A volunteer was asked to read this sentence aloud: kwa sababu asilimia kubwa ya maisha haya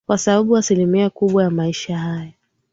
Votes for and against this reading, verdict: 1, 2, rejected